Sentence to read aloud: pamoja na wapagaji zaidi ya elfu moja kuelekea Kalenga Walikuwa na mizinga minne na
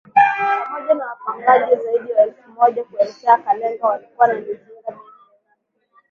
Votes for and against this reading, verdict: 0, 2, rejected